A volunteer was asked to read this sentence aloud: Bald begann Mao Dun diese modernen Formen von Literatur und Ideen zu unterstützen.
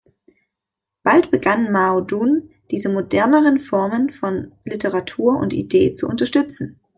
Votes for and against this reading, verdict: 1, 2, rejected